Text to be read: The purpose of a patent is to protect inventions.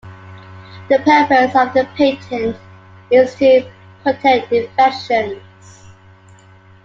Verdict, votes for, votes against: rejected, 1, 2